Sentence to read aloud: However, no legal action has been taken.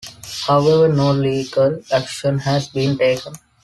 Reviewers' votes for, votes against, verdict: 2, 0, accepted